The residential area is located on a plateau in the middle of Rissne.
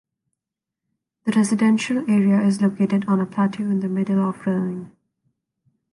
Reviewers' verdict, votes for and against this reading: rejected, 0, 2